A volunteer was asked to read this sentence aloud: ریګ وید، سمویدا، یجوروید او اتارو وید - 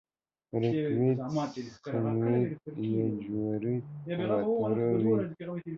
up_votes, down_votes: 0, 2